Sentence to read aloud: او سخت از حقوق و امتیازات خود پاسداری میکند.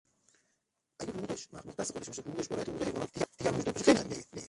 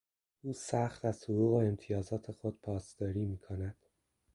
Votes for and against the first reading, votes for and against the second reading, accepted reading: 0, 3, 2, 1, second